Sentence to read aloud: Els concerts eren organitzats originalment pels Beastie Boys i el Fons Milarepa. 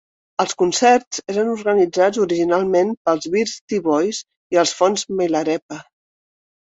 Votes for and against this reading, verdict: 2, 0, accepted